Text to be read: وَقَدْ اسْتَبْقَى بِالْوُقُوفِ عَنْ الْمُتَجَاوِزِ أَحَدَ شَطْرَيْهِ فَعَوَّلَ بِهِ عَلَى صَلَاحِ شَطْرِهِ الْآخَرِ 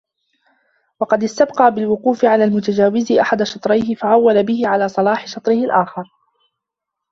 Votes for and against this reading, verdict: 1, 2, rejected